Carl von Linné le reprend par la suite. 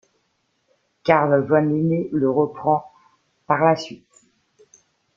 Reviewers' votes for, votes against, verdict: 2, 1, accepted